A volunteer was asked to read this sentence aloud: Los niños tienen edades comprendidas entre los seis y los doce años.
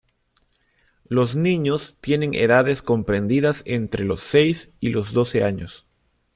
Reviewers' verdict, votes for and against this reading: accepted, 2, 0